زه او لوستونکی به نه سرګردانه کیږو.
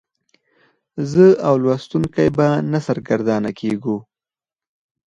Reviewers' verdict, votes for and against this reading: accepted, 4, 0